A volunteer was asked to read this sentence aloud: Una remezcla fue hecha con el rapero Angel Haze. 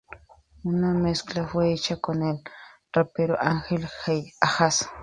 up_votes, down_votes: 0, 2